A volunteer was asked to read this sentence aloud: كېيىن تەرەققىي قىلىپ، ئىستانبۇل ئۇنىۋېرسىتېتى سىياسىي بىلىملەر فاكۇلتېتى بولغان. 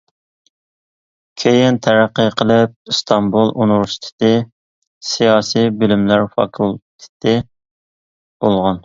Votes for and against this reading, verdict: 2, 0, accepted